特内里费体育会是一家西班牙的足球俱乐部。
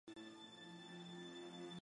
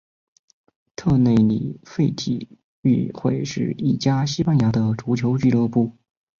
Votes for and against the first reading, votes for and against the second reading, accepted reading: 0, 2, 2, 0, second